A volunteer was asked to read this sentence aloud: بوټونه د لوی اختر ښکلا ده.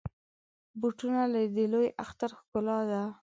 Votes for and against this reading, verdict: 3, 0, accepted